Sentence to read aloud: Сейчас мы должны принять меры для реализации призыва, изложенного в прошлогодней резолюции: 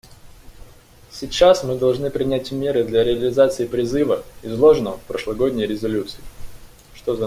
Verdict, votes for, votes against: rejected, 0, 2